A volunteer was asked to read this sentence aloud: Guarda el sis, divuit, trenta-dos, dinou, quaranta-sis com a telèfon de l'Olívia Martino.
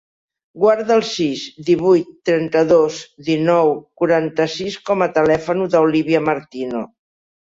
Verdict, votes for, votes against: rejected, 0, 2